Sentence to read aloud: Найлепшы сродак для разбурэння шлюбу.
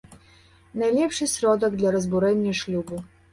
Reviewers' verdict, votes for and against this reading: accepted, 2, 0